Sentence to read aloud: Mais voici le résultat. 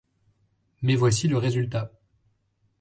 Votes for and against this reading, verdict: 2, 0, accepted